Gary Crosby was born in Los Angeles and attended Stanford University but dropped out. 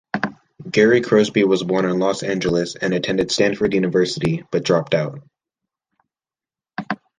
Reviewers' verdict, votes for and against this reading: accepted, 2, 1